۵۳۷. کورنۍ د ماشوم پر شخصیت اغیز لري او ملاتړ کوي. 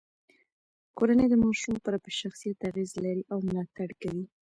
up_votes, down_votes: 0, 2